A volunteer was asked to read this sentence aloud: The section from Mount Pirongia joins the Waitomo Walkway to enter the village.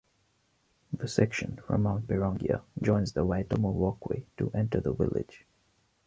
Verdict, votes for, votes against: accepted, 2, 0